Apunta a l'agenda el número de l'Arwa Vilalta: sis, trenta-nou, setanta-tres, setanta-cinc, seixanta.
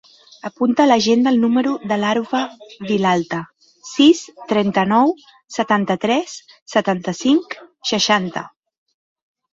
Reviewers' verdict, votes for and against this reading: rejected, 1, 2